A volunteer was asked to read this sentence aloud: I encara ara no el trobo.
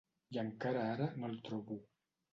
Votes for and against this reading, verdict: 2, 0, accepted